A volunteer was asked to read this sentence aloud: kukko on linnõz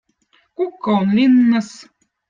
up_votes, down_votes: 2, 0